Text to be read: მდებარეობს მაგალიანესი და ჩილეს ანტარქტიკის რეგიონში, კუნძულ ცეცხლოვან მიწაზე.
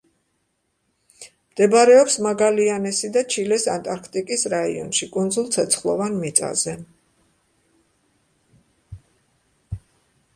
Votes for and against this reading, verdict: 1, 2, rejected